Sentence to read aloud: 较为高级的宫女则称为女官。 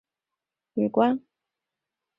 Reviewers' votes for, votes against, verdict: 2, 4, rejected